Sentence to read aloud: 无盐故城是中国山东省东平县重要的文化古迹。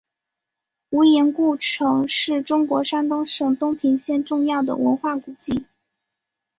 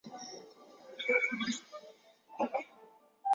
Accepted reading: first